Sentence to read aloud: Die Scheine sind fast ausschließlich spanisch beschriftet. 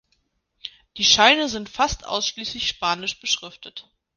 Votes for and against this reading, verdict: 2, 1, accepted